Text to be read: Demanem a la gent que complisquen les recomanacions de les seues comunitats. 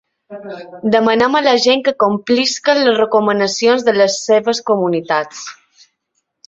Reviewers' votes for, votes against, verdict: 1, 3, rejected